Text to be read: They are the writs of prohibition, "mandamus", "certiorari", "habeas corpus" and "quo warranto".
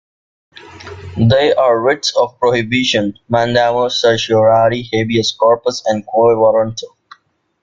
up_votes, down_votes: 2, 1